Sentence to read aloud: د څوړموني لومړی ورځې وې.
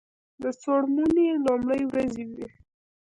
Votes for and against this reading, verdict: 2, 1, accepted